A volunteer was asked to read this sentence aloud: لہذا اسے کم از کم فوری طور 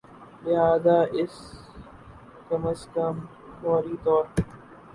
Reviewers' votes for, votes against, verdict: 2, 4, rejected